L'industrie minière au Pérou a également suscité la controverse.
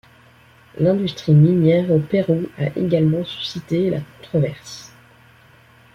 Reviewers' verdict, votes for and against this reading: accepted, 2, 0